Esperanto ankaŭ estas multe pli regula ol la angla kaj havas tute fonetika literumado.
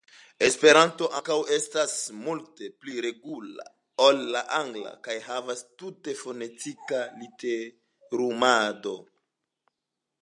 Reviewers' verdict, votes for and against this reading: accepted, 2, 0